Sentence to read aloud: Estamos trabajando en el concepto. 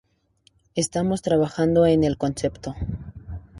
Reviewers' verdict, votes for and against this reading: accepted, 2, 0